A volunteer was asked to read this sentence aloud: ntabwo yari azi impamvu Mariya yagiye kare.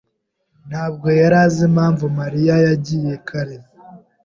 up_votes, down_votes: 2, 0